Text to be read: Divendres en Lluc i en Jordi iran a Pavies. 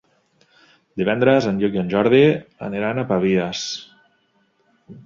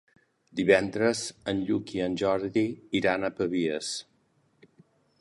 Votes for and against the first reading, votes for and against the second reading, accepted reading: 0, 2, 3, 0, second